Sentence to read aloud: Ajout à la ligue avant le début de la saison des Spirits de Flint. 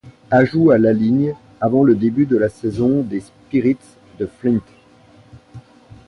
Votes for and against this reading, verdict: 1, 2, rejected